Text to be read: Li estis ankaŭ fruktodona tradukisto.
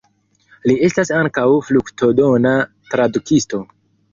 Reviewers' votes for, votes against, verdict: 2, 1, accepted